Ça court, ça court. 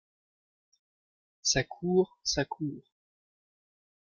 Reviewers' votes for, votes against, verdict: 1, 2, rejected